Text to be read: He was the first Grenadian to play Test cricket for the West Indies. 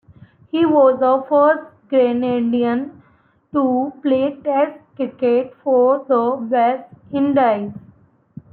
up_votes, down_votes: 2, 1